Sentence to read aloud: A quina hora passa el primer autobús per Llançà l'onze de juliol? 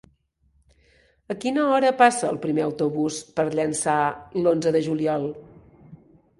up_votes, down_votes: 2, 0